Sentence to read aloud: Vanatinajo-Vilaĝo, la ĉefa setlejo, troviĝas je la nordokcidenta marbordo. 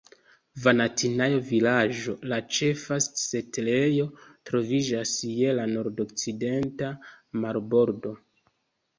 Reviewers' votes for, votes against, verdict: 2, 0, accepted